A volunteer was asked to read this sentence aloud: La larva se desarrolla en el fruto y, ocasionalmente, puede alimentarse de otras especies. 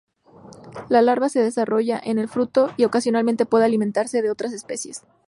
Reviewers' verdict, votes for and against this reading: accepted, 2, 0